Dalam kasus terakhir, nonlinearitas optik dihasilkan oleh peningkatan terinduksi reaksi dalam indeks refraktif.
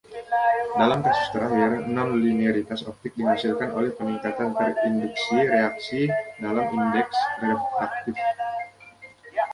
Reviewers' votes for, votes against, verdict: 1, 2, rejected